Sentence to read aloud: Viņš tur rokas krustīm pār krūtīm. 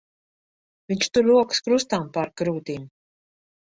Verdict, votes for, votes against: rejected, 1, 2